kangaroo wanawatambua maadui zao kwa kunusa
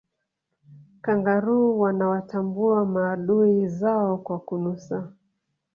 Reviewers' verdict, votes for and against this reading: accepted, 2, 1